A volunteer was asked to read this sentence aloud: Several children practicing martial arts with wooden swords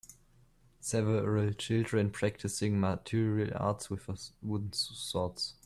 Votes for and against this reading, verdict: 0, 3, rejected